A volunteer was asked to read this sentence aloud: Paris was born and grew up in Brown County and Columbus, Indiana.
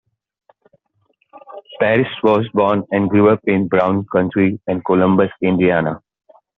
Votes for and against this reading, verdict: 2, 0, accepted